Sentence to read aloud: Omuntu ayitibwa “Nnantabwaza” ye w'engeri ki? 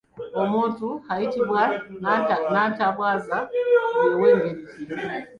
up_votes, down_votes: 1, 2